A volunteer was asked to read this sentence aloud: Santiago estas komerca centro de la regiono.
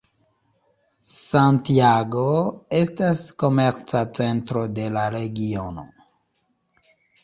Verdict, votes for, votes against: accepted, 2, 0